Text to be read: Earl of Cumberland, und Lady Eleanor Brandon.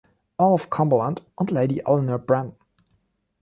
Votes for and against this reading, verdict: 1, 2, rejected